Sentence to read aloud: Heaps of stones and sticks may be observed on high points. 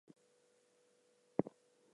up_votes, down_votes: 0, 2